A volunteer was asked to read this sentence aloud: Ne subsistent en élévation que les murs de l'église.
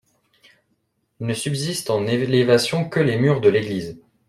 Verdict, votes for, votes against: accepted, 2, 1